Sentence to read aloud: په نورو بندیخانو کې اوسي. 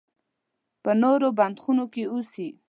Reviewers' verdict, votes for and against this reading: rejected, 1, 2